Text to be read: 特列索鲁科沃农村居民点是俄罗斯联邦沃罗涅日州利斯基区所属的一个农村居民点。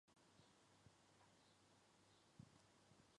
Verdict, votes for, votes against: rejected, 0, 2